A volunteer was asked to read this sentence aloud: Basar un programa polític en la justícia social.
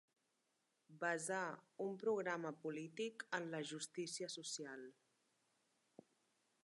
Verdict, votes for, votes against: accepted, 3, 0